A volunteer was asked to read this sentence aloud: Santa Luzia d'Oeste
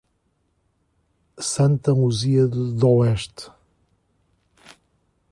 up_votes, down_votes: 2, 1